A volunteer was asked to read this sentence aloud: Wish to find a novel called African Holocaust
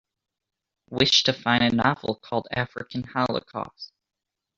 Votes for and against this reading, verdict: 2, 1, accepted